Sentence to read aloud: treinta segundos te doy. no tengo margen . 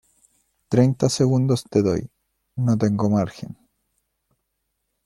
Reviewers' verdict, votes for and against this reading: accepted, 2, 0